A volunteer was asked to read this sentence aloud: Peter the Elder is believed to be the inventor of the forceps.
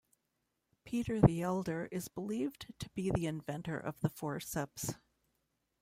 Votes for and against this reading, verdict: 2, 0, accepted